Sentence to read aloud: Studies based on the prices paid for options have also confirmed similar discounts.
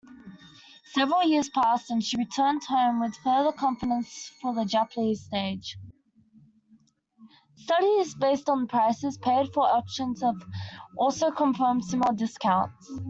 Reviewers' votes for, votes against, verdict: 0, 2, rejected